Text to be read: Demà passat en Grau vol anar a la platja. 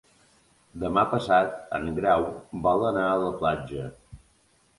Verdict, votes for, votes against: accepted, 3, 0